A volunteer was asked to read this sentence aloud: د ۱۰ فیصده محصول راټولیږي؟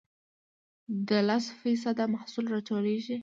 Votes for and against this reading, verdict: 0, 2, rejected